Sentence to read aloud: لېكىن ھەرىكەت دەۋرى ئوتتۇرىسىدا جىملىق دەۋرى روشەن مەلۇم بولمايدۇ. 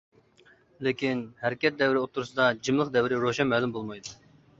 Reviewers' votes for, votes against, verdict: 2, 0, accepted